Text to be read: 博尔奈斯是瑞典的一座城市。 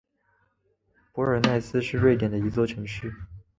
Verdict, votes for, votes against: accepted, 7, 1